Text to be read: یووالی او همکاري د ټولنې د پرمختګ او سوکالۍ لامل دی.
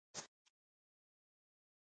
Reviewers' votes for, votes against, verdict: 1, 2, rejected